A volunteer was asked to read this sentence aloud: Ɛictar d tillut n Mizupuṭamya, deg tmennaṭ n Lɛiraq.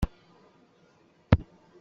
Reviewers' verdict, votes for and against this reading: rejected, 1, 2